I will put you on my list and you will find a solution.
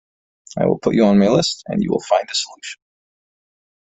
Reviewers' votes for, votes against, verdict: 2, 0, accepted